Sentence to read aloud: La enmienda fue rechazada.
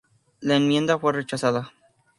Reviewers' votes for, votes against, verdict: 2, 0, accepted